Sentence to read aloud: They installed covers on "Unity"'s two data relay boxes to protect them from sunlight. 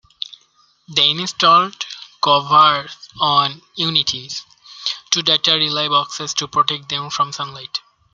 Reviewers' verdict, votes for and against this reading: accepted, 2, 1